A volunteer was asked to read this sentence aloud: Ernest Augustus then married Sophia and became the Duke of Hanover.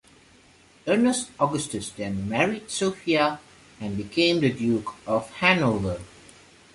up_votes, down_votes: 2, 0